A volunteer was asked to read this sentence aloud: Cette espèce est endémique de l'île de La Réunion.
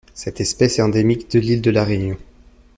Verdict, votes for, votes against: accepted, 2, 0